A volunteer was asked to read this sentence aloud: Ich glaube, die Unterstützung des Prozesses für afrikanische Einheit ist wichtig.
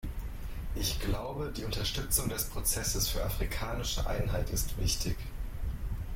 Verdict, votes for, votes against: rejected, 1, 2